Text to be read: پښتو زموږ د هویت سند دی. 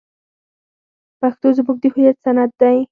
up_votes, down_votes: 2, 4